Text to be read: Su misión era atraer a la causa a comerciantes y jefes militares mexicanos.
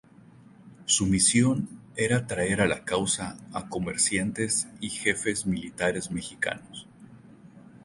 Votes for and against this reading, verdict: 0, 2, rejected